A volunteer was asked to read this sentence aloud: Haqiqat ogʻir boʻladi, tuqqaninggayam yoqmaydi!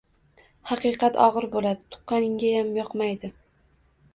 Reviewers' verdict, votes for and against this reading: rejected, 1, 2